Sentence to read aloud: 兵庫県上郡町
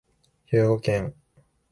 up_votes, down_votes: 0, 2